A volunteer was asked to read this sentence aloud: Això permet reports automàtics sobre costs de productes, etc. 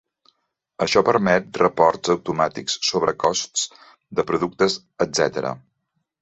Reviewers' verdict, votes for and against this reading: accepted, 2, 0